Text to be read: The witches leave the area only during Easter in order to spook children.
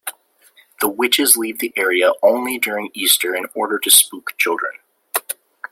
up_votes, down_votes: 2, 0